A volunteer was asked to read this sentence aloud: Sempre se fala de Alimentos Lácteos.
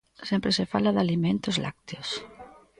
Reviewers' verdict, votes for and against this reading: rejected, 1, 2